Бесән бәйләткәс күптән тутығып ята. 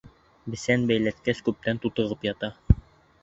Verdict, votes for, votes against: accepted, 3, 0